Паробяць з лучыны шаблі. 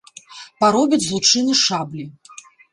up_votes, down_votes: 2, 0